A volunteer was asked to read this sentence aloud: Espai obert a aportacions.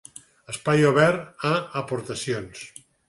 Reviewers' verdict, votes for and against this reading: accepted, 6, 0